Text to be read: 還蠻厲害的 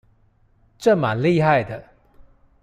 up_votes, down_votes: 1, 2